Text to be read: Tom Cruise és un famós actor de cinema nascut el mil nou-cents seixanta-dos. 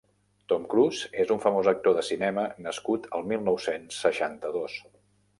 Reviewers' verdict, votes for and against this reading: accepted, 2, 0